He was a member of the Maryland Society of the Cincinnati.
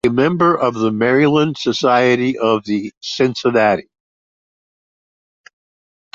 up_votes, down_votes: 0, 2